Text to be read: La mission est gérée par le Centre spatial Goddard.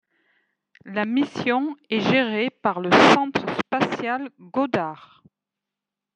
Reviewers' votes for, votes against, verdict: 1, 2, rejected